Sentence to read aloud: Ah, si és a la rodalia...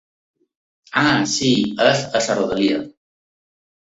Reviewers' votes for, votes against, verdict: 0, 2, rejected